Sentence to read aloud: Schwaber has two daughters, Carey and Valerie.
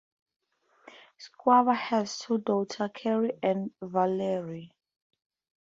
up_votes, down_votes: 4, 0